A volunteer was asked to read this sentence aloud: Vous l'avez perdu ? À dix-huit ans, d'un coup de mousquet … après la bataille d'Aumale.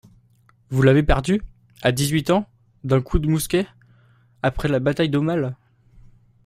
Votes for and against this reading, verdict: 2, 0, accepted